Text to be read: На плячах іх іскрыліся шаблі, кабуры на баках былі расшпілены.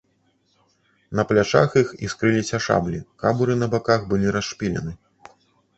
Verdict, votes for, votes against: rejected, 0, 2